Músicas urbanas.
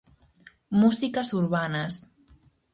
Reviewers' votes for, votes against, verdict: 4, 0, accepted